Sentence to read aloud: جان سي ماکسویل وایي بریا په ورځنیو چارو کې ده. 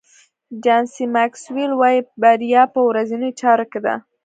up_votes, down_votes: 2, 1